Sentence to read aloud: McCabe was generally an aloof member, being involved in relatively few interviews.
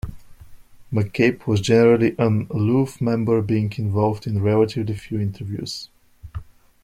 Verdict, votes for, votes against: rejected, 1, 2